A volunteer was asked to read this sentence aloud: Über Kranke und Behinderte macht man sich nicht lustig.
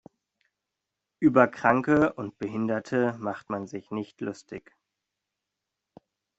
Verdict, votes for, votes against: accepted, 2, 0